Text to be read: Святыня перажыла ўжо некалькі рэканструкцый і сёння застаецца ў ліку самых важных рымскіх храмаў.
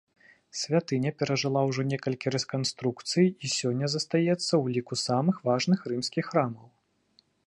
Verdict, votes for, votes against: rejected, 1, 2